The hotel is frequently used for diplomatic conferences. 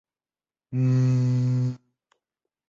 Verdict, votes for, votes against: rejected, 0, 2